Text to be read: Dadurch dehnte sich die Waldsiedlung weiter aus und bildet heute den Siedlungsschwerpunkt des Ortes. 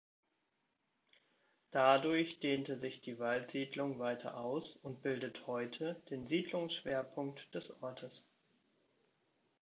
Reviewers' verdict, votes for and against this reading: accepted, 2, 0